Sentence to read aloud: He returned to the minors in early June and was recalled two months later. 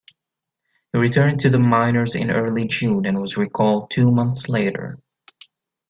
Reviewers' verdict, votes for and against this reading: accepted, 2, 0